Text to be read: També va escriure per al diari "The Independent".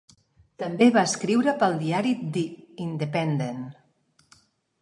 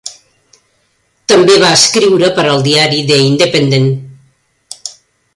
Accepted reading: second